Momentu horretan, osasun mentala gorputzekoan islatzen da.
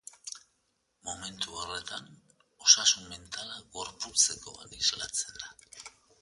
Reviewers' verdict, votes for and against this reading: accepted, 2, 0